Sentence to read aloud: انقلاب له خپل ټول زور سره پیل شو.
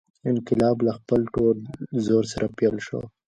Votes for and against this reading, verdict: 1, 2, rejected